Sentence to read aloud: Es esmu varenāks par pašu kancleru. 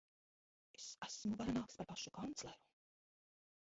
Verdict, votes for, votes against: rejected, 0, 2